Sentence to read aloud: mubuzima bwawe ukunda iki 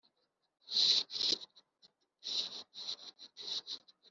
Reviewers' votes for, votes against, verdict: 0, 4, rejected